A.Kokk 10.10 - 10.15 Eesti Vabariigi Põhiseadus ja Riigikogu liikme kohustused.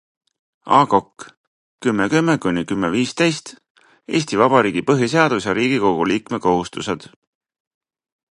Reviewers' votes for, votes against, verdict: 0, 2, rejected